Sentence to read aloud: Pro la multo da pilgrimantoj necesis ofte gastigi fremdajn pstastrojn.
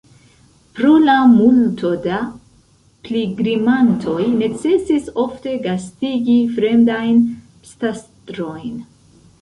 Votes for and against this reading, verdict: 2, 0, accepted